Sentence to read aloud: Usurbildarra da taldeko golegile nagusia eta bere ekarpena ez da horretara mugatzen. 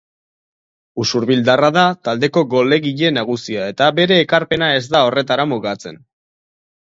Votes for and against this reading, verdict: 4, 0, accepted